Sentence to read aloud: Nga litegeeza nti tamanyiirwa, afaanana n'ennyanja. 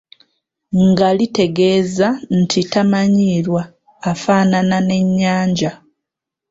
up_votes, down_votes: 2, 0